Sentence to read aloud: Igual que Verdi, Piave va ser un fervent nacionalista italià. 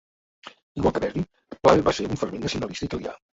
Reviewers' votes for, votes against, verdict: 0, 2, rejected